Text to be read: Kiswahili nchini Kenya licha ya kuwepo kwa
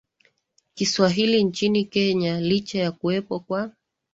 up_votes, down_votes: 2, 1